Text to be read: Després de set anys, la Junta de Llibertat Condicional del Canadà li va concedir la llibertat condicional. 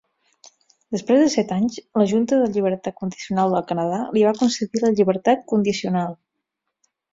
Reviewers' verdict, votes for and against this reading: accepted, 4, 0